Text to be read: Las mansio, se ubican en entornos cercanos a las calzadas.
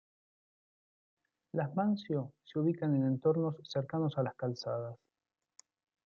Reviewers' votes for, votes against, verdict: 2, 1, accepted